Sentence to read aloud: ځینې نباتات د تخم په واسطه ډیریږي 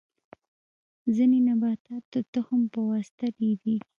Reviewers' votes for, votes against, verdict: 0, 2, rejected